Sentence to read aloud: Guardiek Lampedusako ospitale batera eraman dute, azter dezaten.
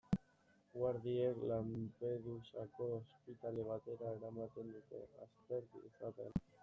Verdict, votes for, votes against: rejected, 0, 2